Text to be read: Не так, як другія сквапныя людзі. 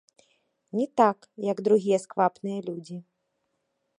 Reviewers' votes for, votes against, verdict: 2, 0, accepted